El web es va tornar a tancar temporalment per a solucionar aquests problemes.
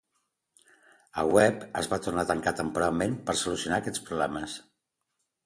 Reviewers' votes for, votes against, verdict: 2, 0, accepted